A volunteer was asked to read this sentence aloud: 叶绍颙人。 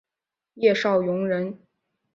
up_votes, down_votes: 2, 0